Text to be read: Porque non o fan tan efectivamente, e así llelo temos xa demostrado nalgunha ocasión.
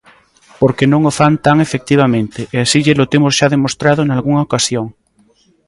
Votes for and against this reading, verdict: 2, 0, accepted